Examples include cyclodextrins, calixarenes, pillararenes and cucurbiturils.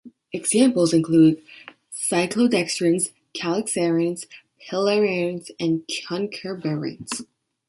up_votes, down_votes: 2, 1